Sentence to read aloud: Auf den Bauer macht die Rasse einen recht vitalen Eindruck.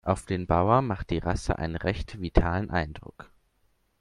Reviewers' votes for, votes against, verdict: 2, 0, accepted